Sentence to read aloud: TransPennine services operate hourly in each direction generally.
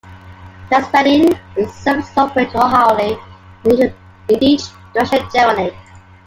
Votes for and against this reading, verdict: 0, 2, rejected